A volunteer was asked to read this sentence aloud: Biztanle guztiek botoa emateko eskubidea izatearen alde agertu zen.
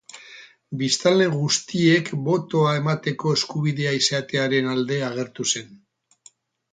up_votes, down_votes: 0, 2